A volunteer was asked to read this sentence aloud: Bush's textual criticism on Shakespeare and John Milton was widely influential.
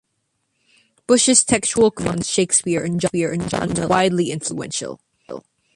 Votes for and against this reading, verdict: 0, 2, rejected